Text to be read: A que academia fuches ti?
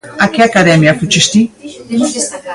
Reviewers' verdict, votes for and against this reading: rejected, 1, 2